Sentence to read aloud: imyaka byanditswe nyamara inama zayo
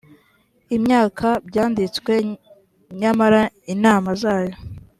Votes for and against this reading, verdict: 2, 0, accepted